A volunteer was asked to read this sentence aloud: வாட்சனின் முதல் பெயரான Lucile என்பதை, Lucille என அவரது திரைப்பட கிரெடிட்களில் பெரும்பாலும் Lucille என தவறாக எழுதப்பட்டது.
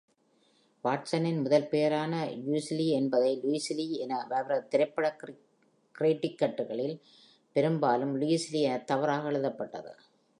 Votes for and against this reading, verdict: 2, 3, rejected